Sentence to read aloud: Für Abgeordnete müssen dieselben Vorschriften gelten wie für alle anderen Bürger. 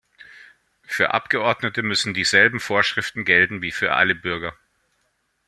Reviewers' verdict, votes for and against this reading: rejected, 0, 2